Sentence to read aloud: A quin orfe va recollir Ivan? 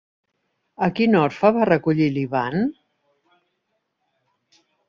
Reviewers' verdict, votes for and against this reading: accepted, 3, 1